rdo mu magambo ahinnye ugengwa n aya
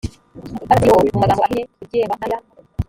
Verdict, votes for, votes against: rejected, 1, 2